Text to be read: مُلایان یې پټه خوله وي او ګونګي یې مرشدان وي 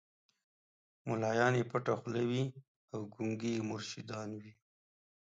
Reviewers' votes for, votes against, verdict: 2, 0, accepted